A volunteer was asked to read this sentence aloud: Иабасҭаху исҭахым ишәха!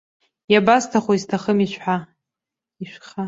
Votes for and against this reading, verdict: 0, 2, rejected